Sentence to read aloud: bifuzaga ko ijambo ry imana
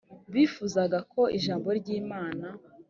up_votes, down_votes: 3, 0